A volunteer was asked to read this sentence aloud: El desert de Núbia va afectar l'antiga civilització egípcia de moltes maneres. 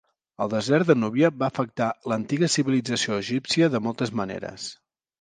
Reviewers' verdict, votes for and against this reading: accepted, 2, 0